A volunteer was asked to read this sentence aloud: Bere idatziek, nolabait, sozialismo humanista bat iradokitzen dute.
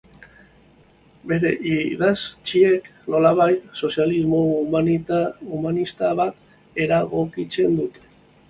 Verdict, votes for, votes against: rejected, 0, 2